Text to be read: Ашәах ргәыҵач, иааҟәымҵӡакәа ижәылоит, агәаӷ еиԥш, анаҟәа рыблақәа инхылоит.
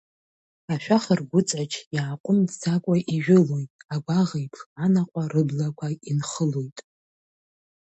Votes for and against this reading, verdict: 0, 2, rejected